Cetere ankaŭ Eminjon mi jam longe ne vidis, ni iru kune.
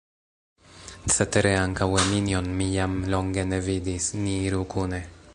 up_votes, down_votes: 1, 2